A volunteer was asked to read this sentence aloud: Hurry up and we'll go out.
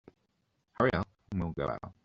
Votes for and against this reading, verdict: 3, 0, accepted